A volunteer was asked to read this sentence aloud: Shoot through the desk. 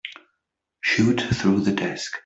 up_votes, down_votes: 2, 0